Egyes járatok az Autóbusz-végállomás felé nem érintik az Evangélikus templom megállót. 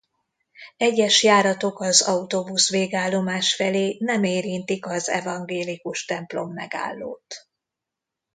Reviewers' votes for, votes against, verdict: 2, 0, accepted